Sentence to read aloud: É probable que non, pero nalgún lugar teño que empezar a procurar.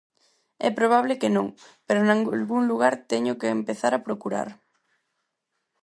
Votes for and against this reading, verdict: 0, 4, rejected